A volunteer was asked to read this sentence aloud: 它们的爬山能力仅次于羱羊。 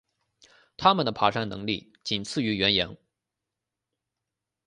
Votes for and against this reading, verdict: 2, 0, accepted